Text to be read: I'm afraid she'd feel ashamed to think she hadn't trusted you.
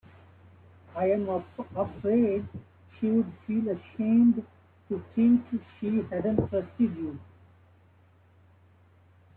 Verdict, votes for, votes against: rejected, 0, 2